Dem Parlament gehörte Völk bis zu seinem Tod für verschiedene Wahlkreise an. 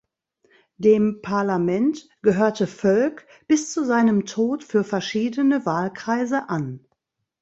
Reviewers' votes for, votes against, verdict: 2, 0, accepted